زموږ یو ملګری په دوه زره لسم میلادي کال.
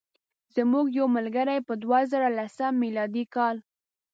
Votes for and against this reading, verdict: 1, 2, rejected